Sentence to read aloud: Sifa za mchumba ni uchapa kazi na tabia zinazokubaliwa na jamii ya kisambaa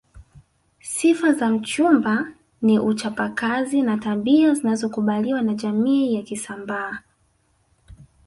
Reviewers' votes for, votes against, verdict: 1, 2, rejected